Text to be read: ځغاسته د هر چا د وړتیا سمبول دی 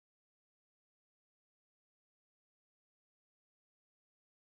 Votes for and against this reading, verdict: 4, 2, accepted